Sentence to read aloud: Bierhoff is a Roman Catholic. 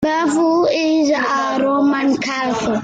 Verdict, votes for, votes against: rejected, 1, 2